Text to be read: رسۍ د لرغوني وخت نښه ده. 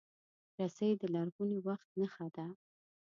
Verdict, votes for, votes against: rejected, 1, 2